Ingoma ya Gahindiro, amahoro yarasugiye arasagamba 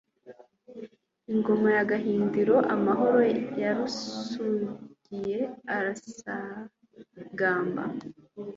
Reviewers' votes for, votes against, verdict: 1, 2, rejected